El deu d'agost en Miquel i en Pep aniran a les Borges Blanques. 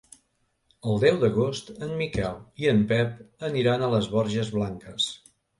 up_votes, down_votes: 3, 0